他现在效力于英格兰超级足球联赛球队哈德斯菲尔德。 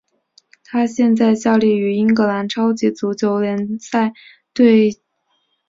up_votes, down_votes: 1, 4